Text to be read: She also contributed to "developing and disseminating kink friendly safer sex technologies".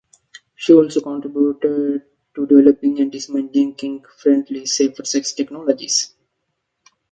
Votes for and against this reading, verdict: 0, 2, rejected